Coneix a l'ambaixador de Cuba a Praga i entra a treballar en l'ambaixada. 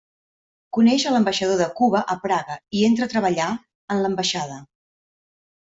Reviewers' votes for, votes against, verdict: 2, 0, accepted